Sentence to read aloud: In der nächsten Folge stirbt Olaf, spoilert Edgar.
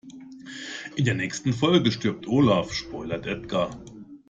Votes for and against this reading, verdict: 2, 0, accepted